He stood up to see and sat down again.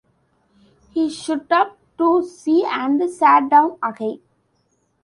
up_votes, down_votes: 1, 2